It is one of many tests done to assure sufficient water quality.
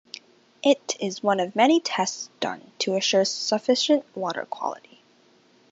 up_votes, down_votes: 2, 0